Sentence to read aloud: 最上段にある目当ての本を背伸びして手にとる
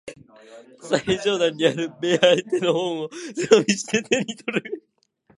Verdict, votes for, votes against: rejected, 0, 2